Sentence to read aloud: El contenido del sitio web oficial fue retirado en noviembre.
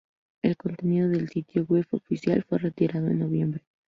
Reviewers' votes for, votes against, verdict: 2, 2, rejected